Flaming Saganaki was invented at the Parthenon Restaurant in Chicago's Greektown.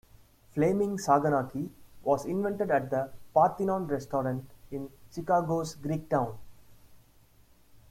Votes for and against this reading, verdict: 2, 0, accepted